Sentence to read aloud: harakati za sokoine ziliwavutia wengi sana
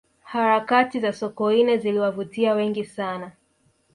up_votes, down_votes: 1, 2